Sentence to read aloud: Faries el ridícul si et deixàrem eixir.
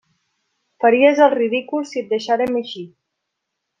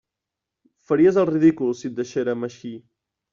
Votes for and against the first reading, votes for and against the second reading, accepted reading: 2, 0, 1, 2, first